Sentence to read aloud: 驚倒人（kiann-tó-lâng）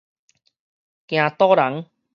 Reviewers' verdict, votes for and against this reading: accepted, 4, 0